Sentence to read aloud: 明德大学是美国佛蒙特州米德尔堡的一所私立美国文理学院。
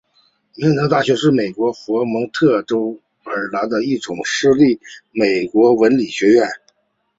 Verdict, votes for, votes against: accepted, 2, 1